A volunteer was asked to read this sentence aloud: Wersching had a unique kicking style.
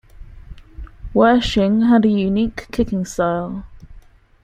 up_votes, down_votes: 2, 0